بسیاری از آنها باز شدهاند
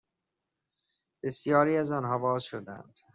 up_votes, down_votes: 2, 0